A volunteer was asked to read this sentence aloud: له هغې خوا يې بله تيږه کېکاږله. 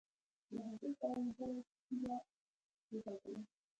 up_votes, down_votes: 0, 2